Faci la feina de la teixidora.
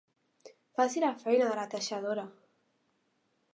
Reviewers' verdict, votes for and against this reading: rejected, 1, 2